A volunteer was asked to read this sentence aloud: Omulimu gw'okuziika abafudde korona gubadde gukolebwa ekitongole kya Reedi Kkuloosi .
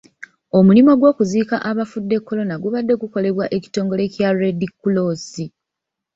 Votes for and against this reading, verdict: 1, 2, rejected